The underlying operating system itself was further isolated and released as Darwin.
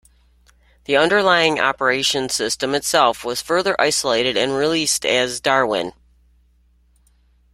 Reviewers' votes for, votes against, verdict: 0, 2, rejected